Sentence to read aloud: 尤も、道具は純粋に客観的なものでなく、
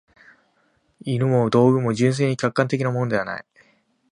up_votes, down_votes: 1, 2